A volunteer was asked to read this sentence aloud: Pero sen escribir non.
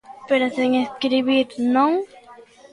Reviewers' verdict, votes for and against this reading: rejected, 1, 2